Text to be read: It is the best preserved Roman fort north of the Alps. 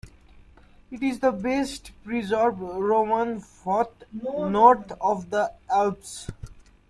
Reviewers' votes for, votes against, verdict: 2, 1, accepted